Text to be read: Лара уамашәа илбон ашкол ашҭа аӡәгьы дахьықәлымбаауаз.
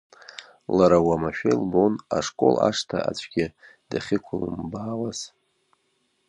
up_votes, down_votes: 1, 2